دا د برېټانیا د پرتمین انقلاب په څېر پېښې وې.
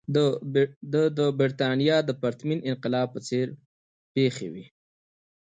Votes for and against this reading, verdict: 2, 1, accepted